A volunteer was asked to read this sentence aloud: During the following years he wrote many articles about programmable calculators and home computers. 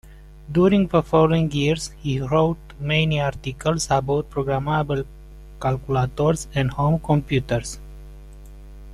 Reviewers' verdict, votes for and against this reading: accepted, 2, 0